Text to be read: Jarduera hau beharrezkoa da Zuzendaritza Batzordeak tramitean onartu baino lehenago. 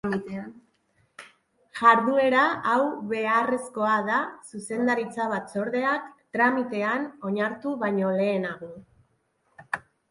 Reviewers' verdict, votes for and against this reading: rejected, 1, 2